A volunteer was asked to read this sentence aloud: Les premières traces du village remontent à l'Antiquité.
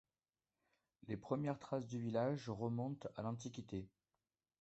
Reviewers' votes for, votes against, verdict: 2, 0, accepted